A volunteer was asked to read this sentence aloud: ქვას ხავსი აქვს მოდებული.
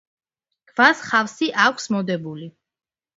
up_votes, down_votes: 2, 1